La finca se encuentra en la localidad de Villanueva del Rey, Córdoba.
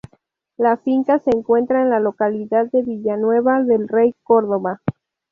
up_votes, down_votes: 0, 2